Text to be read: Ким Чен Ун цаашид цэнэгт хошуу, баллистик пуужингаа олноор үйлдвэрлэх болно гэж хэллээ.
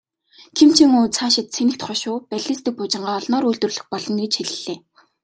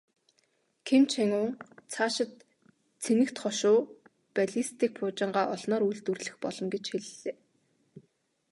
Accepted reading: first